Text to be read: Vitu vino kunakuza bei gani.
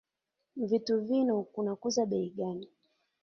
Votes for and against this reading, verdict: 2, 1, accepted